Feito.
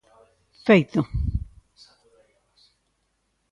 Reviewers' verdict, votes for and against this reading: accepted, 2, 0